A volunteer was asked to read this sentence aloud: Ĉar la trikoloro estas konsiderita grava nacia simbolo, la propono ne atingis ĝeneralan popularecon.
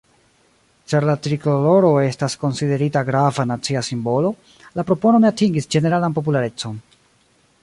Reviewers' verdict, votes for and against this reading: rejected, 1, 2